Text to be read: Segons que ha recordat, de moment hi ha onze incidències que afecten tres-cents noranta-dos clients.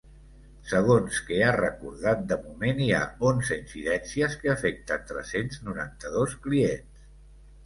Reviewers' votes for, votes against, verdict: 4, 0, accepted